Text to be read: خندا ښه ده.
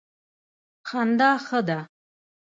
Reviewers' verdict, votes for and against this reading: rejected, 1, 2